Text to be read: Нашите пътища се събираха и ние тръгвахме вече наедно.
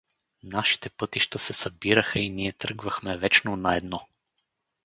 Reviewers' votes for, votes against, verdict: 0, 4, rejected